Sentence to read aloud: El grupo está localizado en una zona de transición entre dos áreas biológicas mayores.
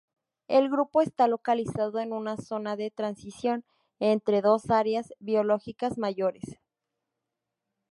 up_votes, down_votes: 0, 2